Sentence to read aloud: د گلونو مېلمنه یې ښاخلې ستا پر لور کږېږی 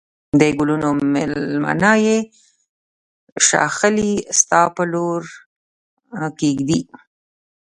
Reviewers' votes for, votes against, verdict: 1, 2, rejected